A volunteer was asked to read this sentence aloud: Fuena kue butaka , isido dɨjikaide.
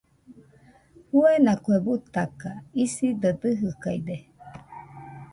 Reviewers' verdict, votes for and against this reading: rejected, 0, 2